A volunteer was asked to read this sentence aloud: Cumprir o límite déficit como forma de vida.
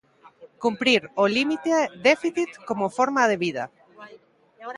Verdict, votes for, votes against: rejected, 0, 2